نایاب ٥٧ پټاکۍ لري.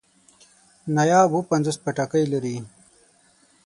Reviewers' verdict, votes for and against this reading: rejected, 0, 2